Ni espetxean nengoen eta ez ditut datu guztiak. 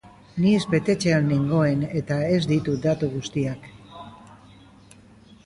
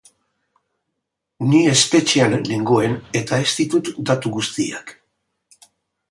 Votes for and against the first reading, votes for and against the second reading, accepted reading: 1, 2, 7, 0, second